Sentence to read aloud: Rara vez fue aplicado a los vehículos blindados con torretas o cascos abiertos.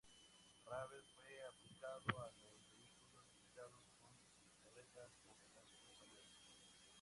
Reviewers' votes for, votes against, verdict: 0, 4, rejected